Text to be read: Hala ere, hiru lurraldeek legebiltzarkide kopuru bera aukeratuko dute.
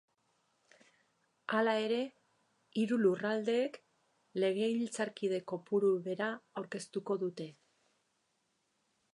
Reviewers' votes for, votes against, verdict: 2, 4, rejected